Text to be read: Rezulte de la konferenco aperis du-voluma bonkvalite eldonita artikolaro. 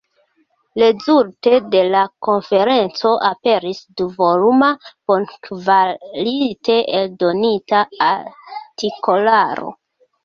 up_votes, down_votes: 2, 1